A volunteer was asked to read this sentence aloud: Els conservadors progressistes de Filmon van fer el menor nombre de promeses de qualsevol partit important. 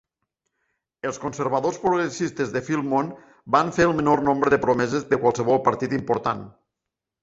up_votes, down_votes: 0, 2